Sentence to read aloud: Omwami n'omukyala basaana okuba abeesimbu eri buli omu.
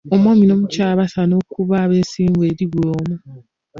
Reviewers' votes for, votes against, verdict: 0, 2, rejected